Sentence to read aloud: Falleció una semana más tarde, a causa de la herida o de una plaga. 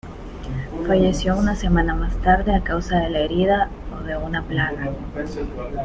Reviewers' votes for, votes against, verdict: 0, 2, rejected